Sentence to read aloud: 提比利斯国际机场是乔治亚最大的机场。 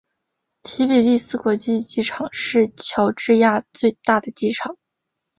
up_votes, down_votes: 7, 0